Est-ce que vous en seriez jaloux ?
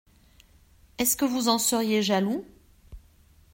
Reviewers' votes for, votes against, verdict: 2, 0, accepted